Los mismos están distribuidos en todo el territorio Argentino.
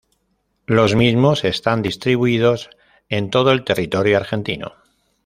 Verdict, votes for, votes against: accepted, 2, 0